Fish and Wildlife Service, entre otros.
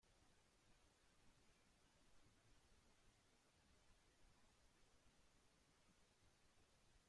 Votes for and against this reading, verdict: 0, 2, rejected